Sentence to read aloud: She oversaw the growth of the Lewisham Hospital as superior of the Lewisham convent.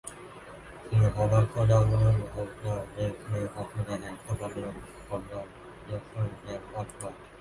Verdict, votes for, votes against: rejected, 0, 2